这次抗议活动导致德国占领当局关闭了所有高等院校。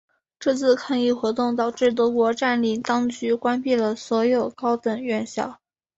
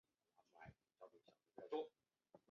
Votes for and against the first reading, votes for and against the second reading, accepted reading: 6, 1, 1, 3, first